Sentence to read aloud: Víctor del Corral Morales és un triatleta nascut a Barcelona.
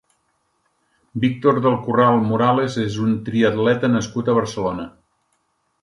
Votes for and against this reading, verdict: 4, 0, accepted